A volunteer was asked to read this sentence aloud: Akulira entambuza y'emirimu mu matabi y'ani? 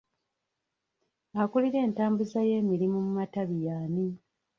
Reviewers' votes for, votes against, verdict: 1, 2, rejected